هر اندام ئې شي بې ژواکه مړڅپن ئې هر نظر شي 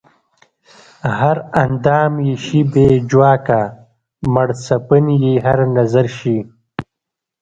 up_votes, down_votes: 1, 2